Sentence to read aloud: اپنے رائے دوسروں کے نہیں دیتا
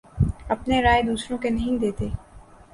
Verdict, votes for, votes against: accepted, 2, 0